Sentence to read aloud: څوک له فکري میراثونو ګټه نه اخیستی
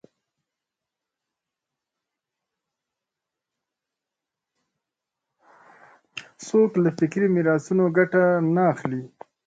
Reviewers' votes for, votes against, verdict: 1, 2, rejected